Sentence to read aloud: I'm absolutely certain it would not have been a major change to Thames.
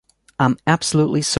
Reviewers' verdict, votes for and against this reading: rejected, 0, 2